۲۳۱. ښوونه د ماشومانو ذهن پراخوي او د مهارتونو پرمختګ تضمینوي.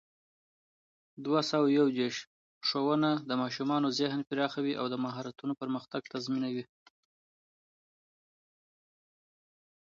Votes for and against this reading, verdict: 0, 2, rejected